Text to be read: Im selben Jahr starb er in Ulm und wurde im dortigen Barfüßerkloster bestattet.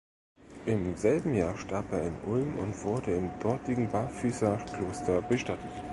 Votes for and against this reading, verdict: 2, 1, accepted